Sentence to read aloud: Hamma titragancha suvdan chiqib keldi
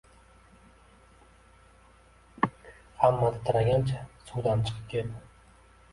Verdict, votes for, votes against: rejected, 0, 2